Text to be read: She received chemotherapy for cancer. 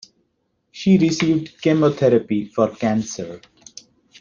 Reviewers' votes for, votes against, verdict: 2, 0, accepted